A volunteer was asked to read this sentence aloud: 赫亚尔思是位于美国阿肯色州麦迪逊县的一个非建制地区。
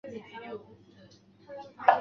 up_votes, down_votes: 0, 4